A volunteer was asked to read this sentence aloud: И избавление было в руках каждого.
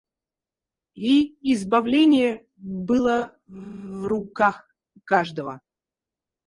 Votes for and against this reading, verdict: 2, 4, rejected